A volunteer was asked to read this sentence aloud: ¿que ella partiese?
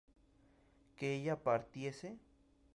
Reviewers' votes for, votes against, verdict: 2, 0, accepted